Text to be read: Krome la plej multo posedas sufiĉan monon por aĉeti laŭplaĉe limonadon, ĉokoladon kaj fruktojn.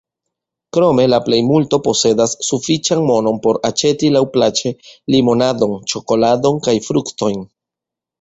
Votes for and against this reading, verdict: 2, 1, accepted